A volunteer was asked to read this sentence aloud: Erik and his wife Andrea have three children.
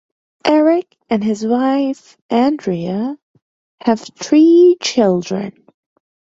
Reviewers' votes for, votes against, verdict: 1, 2, rejected